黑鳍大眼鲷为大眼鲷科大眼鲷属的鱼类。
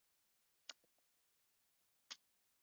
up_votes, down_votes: 0, 3